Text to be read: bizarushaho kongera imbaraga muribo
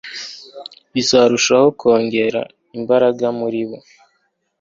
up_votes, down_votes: 2, 1